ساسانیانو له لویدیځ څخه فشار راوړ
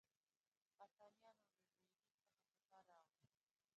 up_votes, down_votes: 0, 2